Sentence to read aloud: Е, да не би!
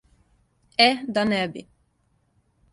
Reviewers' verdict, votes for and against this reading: accepted, 2, 0